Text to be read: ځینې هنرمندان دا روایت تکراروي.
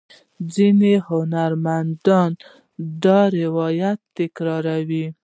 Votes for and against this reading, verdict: 1, 2, rejected